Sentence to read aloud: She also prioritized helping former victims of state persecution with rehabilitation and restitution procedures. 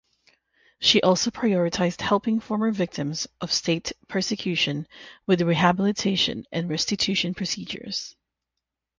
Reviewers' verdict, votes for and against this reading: rejected, 0, 3